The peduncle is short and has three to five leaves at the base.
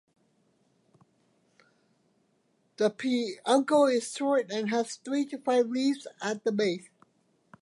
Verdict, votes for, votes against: rejected, 1, 2